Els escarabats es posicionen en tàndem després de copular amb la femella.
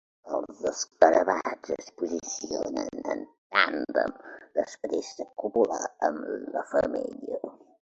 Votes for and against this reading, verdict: 1, 2, rejected